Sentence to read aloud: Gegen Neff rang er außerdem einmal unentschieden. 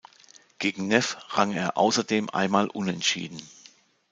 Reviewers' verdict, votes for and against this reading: accepted, 2, 0